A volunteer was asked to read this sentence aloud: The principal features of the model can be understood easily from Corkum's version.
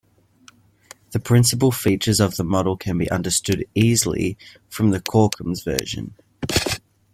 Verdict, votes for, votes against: rejected, 0, 2